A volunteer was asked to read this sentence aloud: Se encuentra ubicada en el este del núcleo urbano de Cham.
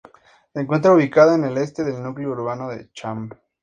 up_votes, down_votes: 2, 0